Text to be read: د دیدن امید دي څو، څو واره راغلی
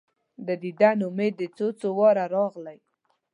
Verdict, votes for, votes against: accepted, 2, 0